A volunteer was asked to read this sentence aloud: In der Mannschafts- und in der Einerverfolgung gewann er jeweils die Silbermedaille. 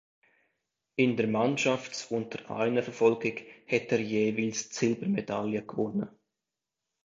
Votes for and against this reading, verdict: 0, 3, rejected